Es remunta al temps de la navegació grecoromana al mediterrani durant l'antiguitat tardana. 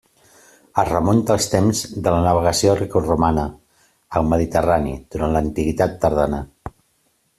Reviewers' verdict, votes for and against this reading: accepted, 2, 0